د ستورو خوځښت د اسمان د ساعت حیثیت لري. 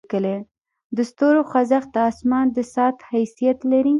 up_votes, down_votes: 1, 2